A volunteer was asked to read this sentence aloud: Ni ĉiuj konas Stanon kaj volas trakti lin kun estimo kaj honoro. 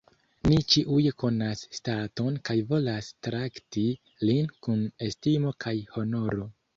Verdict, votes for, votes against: rejected, 1, 2